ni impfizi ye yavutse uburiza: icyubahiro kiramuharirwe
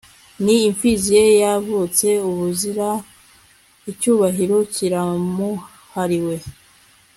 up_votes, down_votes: 0, 2